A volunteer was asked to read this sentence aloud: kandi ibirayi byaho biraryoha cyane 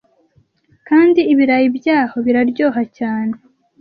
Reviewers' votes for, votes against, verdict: 2, 0, accepted